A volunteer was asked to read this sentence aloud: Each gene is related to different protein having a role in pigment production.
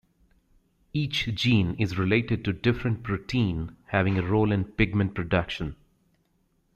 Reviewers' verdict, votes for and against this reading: accepted, 2, 0